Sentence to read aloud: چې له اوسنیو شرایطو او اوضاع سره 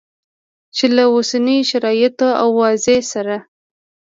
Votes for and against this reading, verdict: 1, 2, rejected